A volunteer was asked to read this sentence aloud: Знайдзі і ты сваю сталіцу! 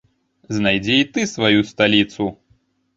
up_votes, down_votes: 2, 0